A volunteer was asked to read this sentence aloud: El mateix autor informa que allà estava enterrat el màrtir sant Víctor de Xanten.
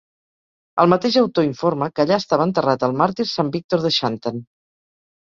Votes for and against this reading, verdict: 4, 0, accepted